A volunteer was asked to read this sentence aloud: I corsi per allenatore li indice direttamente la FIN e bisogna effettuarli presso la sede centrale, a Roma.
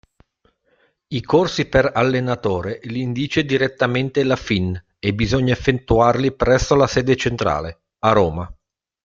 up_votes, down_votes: 1, 2